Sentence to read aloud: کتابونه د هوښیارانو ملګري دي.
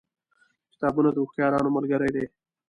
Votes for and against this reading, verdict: 2, 0, accepted